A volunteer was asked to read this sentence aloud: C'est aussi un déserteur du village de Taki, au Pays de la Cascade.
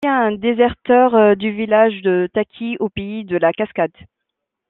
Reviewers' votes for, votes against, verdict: 2, 0, accepted